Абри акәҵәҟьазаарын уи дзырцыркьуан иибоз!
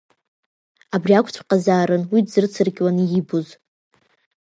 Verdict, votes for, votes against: accepted, 2, 0